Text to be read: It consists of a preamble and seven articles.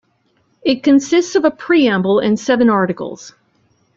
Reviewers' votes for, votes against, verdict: 2, 0, accepted